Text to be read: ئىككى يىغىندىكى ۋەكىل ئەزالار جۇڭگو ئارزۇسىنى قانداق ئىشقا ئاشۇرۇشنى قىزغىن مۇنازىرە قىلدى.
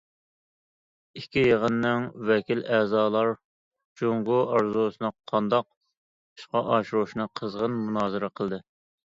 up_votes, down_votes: 0, 2